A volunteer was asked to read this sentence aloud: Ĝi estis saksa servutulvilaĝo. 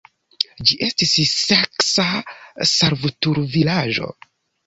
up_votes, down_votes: 1, 2